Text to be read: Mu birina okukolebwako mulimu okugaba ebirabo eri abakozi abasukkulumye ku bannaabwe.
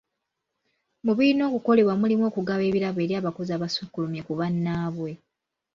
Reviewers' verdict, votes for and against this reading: rejected, 1, 2